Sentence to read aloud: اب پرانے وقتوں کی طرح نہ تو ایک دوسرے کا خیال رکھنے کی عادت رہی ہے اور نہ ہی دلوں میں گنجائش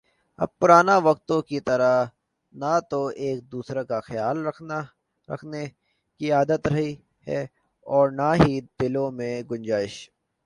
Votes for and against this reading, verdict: 2, 3, rejected